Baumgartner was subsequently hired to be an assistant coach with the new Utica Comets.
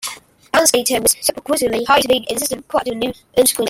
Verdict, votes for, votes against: rejected, 0, 2